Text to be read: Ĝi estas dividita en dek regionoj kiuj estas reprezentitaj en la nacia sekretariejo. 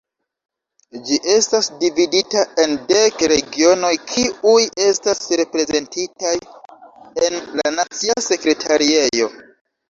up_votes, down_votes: 2, 1